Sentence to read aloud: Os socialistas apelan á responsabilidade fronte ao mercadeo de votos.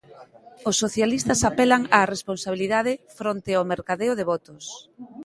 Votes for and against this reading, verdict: 2, 0, accepted